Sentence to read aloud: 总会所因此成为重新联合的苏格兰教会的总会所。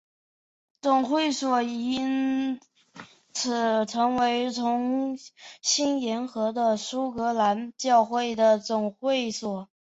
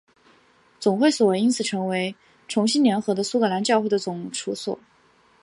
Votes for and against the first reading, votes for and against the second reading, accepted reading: 0, 2, 4, 1, second